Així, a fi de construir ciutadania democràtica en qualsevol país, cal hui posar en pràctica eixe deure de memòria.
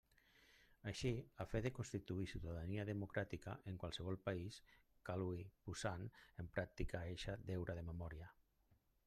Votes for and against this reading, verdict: 1, 2, rejected